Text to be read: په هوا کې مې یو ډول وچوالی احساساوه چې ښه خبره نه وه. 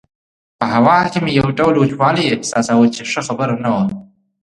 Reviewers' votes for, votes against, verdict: 2, 0, accepted